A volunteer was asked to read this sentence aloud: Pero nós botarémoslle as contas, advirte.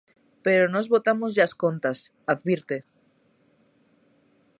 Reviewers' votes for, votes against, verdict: 0, 2, rejected